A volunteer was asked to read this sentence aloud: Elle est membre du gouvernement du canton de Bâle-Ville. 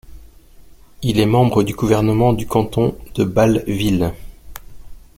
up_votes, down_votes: 1, 2